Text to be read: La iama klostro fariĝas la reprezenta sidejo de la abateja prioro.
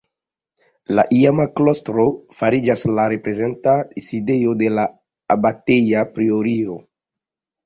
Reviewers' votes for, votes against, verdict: 1, 2, rejected